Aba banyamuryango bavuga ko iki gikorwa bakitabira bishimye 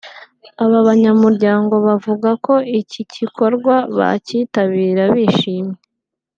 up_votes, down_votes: 2, 0